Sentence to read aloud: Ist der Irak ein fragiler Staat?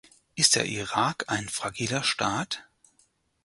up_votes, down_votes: 4, 0